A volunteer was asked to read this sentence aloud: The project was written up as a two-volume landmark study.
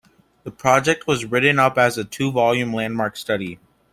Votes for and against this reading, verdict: 2, 0, accepted